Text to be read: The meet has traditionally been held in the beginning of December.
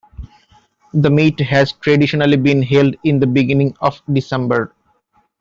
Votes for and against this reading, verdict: 2, 0, accepted